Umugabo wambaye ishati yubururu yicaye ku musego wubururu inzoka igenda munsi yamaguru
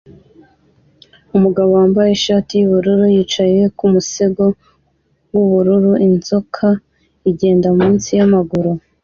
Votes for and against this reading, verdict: 2, 0, accepted